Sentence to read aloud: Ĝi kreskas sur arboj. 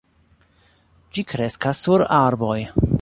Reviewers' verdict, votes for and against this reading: accepted, 2, 0